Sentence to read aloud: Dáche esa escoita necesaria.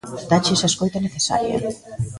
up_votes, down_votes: 1, 2